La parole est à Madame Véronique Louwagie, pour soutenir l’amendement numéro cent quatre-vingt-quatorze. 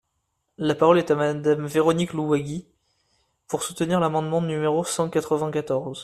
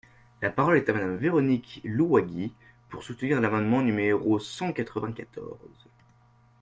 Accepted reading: first